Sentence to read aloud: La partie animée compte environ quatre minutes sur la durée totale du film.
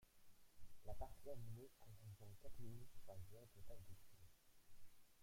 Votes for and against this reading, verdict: 0, 2, rejected